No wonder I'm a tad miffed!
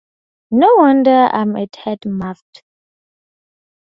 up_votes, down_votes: 0, 2